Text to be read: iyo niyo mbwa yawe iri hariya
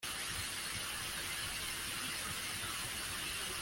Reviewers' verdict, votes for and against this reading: rejected, 0, 2